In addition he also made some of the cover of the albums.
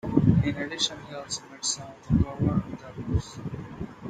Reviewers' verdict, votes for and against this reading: accepted, 2, 0